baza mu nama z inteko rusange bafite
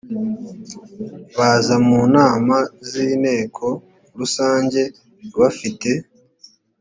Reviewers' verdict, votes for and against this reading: accepted, 2, 0